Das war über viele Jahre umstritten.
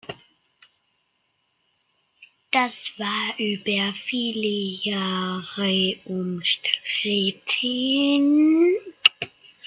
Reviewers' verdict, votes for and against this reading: rejected, 1, 2